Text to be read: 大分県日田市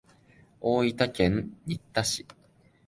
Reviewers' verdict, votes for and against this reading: rejected, 1, 2